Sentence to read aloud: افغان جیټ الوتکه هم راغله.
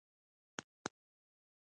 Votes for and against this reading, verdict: 0, 2, rejected